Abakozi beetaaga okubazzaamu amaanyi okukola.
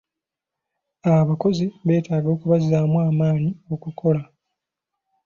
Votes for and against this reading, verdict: 2, 0, accepted